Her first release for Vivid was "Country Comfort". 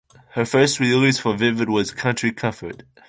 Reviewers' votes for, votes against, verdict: 2, 1, accepted